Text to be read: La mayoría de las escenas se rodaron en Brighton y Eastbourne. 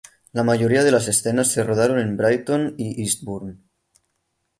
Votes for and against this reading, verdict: 3, 0, accepted